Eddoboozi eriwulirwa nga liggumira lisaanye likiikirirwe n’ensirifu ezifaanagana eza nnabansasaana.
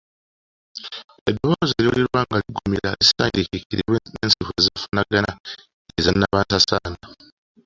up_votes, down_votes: 0, 2